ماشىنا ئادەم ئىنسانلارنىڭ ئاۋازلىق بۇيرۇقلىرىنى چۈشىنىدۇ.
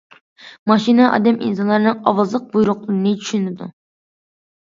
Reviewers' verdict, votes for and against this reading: accepted, 2, 1